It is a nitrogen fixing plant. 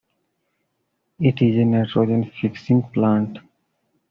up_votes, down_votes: 2, 0